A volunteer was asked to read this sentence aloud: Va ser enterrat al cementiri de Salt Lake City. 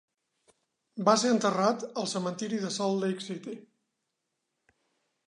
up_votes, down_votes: 4, 0